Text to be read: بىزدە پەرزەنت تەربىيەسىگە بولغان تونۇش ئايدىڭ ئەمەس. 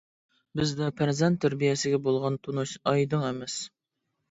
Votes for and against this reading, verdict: 2, 0, accepted